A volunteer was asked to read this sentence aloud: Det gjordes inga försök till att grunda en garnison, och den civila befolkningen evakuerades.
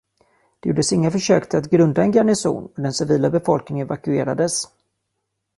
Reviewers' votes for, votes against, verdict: 1, 2, rejected